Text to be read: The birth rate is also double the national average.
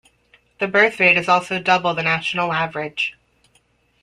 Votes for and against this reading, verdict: 2, 0, accepted